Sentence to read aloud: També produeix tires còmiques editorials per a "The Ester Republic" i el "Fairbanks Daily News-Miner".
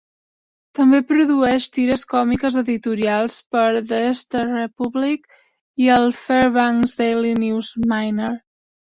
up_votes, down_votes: 1, 2